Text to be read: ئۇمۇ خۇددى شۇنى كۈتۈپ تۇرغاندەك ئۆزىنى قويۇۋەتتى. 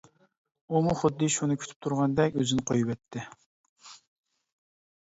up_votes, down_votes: 2, 0